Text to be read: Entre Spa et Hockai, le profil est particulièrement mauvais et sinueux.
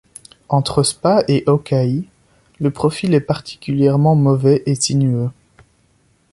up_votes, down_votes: 2, 0